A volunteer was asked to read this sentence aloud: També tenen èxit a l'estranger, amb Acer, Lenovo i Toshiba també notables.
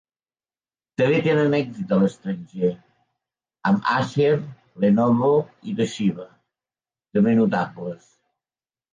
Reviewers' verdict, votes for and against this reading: rejected, 1, 2